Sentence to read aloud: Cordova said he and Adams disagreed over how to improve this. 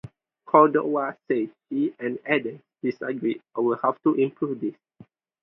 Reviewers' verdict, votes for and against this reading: rejected, 0, 2